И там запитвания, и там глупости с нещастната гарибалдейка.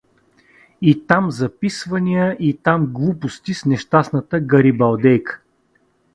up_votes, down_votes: 0, 2